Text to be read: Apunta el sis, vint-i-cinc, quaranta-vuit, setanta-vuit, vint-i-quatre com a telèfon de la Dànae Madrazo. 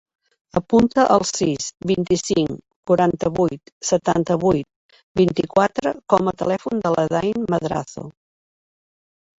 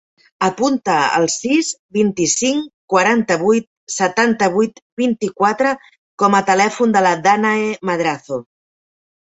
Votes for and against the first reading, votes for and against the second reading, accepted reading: 0, 2, 2, 0, second